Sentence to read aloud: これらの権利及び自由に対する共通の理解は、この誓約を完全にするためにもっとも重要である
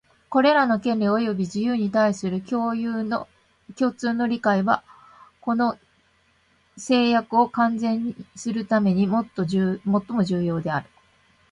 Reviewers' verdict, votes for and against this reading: rejected, 1, 2